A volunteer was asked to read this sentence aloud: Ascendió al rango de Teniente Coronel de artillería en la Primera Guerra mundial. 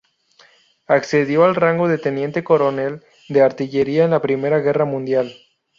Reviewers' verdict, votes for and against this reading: rejected, 0, 2